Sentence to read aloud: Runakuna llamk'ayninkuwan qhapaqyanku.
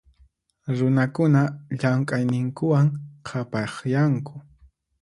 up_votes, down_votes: 4, 0